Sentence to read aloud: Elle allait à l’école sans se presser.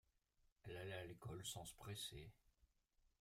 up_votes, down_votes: 2, 1